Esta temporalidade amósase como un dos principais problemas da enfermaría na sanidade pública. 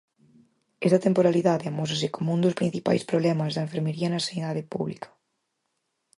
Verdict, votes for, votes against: rejected, 2, 4